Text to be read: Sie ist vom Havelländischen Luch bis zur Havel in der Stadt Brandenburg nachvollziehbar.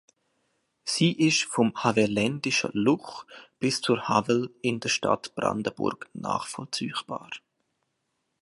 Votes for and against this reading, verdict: 2, 1, accepted